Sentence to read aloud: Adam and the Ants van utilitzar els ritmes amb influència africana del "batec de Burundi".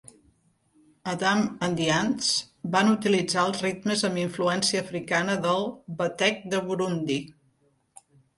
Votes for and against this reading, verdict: 2, 0, accepted